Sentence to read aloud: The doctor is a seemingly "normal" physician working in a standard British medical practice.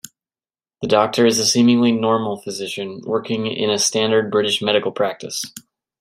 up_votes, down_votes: 2, 0